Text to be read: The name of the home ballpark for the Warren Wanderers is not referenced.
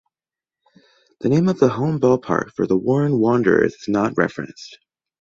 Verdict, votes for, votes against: accepted, 2, 0